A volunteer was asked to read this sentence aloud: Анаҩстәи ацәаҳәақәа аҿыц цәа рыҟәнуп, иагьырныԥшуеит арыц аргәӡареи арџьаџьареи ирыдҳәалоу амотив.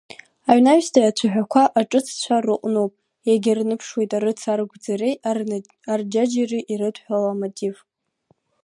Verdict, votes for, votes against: rejected, 0, 2